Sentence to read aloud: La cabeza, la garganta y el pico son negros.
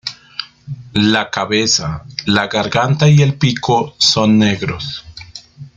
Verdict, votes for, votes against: accepted, 2, 0